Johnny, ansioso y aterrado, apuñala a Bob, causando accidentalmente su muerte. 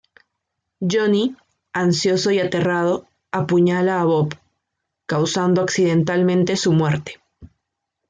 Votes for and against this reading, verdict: 2, 0, accepted